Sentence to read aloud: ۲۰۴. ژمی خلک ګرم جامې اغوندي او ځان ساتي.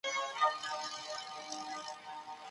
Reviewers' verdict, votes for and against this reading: rejected, 0, 2